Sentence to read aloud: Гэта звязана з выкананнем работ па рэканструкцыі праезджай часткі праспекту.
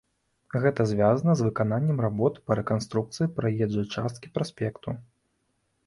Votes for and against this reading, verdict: 2, 0, accepted